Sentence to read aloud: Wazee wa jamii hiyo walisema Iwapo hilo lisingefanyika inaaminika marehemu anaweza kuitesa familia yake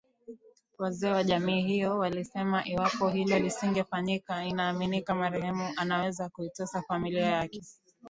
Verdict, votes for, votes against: rejected, 0, 2